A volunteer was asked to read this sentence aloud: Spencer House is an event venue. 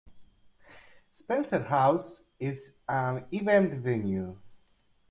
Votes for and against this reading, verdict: 2, 0, accepted